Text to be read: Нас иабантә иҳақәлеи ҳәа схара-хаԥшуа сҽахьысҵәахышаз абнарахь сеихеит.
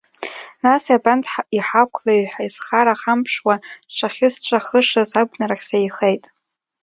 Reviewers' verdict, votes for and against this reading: rejected, 1, 2